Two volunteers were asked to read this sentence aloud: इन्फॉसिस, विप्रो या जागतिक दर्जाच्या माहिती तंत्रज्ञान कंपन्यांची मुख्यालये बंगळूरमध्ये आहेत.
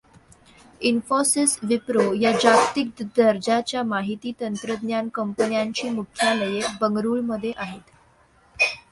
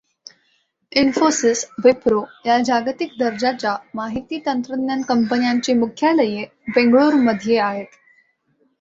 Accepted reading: first